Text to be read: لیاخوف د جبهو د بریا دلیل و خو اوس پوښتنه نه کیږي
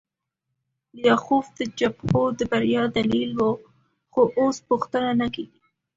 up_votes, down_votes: 2, 0